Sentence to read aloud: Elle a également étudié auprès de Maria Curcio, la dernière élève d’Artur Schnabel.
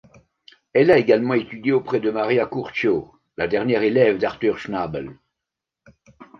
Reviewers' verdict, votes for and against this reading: rejected, 0, 2